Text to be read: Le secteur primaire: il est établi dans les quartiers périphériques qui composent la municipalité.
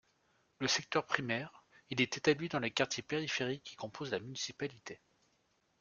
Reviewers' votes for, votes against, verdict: 2, 0, accepted